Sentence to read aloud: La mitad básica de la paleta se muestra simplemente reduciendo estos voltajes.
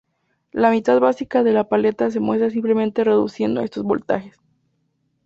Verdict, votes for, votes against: accepted, 2, 0